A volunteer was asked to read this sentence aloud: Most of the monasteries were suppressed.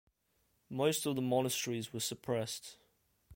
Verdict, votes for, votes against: accepted, 2, 0